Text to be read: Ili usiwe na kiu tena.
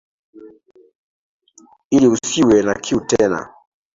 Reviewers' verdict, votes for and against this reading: accepted, 2, 1